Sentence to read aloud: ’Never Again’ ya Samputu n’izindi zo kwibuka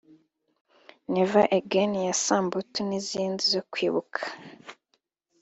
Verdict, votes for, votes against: accepted, 2, 1